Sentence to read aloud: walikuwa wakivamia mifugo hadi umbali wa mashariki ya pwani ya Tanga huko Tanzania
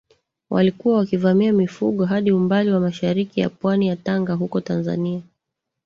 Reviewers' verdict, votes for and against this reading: rejected, 1, 2